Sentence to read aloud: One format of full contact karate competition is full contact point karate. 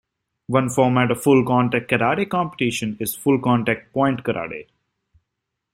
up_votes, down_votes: 2, 0